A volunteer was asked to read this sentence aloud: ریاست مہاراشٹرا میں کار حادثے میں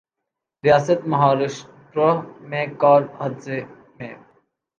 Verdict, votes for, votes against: accepted, 2, 0